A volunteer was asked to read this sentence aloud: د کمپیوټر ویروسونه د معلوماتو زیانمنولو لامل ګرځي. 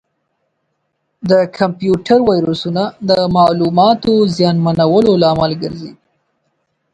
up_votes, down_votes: 0, 4